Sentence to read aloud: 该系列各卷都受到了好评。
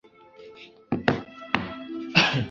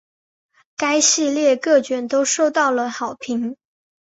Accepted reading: second